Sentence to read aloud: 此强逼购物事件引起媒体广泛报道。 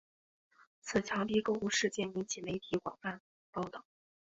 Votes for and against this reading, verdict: 1, 2, rejected